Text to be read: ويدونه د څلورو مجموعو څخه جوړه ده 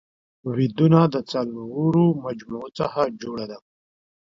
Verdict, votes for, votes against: accepted, 2, 0